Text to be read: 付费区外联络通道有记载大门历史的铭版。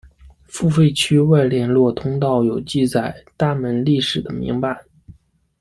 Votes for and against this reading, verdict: 2, 0, accepted